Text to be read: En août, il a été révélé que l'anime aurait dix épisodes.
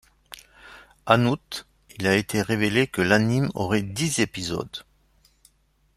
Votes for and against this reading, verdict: 2, 0, accepted